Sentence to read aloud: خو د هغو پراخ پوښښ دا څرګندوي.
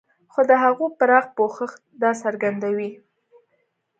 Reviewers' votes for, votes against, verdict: 2, 0, accepted